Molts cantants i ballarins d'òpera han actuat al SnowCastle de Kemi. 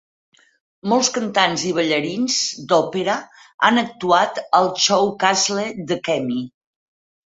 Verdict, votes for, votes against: rejected, 0, 4